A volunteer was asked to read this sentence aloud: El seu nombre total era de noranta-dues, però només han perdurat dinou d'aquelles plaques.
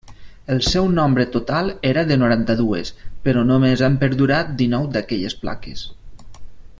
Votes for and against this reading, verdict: 3, 0, accepted